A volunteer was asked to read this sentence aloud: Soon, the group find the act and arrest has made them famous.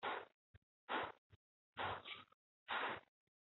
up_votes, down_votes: 0, 2